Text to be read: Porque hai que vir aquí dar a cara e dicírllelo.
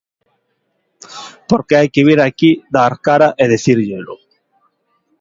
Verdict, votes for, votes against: rejected, 0, 2